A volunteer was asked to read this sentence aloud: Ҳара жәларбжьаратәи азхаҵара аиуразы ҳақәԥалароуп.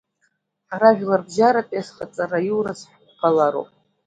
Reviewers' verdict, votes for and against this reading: accepted, 2, 0